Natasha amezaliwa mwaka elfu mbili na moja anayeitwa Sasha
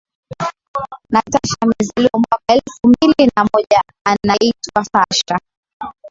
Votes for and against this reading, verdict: 2, 1, accepted